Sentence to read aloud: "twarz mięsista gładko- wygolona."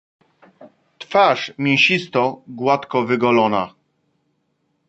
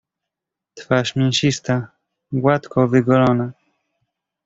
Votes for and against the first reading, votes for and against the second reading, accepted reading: 0, 2, 2, 0, second